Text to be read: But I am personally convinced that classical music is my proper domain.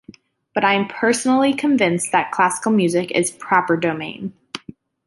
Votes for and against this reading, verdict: 1, 2, rejected